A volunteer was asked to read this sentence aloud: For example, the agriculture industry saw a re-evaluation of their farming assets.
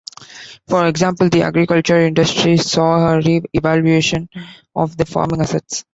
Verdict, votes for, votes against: accepted, 2, 1